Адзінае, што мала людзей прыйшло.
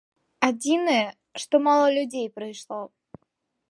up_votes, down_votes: 2, 0